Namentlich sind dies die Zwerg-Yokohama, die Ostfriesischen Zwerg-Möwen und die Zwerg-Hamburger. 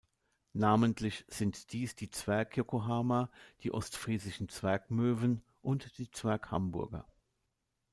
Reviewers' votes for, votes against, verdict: 2, 0, accepted